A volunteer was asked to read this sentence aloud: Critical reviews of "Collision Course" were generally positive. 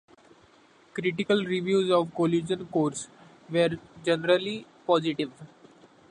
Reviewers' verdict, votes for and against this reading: accepted, 2, 0